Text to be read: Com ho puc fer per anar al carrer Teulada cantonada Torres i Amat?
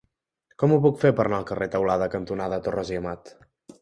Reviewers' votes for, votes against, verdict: 2, 0, accepted